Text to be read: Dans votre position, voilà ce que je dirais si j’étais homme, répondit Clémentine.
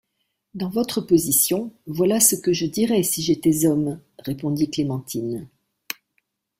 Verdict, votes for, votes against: rejected, 1, 2